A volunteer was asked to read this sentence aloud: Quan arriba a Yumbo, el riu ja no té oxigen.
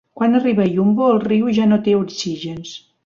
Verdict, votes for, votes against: rejected, 2, 3